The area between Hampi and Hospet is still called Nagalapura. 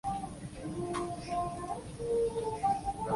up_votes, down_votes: 0, 2